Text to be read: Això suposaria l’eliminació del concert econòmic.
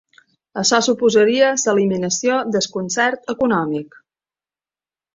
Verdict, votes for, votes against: rejected, 0, 2